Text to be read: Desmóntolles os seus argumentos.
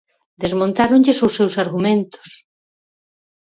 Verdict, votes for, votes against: rejected, 0, 4